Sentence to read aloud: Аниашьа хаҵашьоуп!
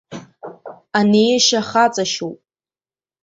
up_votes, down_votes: 2, 3